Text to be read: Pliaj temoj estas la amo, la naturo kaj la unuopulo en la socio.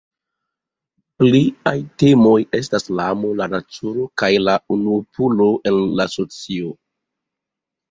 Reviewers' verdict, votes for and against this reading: rejected, 1, 2